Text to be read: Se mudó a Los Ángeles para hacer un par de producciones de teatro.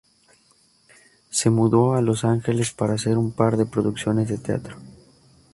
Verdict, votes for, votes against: accepted, 2, 0